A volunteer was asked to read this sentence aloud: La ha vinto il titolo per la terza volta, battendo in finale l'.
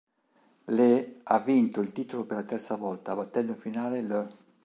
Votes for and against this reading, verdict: 0, 2, rejected